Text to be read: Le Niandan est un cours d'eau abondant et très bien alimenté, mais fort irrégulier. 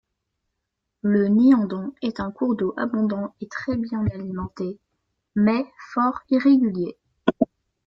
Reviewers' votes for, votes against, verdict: 2, 0, accepted